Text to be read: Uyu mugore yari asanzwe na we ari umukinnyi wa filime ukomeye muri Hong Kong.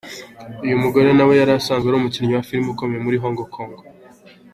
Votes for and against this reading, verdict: 3, 1, accepted